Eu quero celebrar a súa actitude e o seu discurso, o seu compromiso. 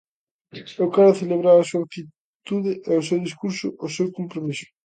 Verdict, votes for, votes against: rejected, 1, 2